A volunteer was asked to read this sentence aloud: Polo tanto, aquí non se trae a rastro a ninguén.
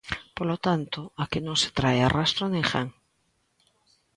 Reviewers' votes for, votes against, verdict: 2, 0, accepted